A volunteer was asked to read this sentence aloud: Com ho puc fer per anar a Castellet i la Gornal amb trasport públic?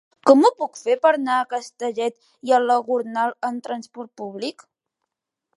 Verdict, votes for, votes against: accepted, 2, 0